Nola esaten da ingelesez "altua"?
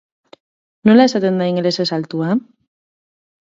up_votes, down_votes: 2, 0